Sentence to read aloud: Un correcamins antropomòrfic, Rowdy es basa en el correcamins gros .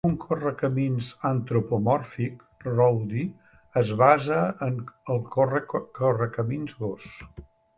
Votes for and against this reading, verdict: 0, 4, rejected